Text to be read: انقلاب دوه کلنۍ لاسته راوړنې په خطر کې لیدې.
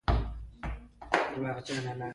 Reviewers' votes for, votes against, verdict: 2, 1, accepted